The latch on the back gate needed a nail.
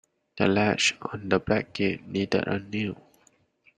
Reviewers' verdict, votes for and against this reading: rejected, 1, 2